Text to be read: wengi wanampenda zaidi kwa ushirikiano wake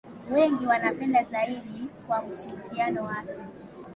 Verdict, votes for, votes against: accepted, 2, 0